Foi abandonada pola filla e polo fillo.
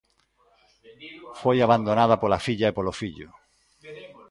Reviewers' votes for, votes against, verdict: 1, 2, rejected